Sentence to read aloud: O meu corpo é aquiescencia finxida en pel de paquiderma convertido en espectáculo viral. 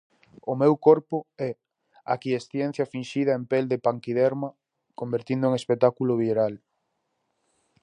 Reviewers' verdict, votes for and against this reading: rejected, 0, 4